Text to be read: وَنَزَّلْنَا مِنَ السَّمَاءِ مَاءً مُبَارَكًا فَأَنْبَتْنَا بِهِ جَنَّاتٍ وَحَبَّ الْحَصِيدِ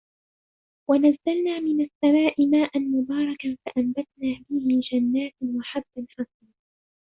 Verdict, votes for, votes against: rejected, 0, 2